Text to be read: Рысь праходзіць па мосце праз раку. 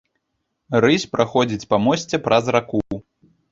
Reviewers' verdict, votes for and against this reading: accepted, 2, 0